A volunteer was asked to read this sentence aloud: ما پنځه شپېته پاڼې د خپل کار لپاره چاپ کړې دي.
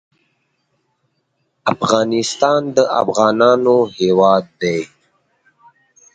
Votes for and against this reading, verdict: 1, 2, rejected